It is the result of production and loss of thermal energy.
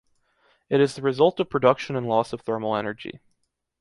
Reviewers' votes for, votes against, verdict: 2, 0, accepted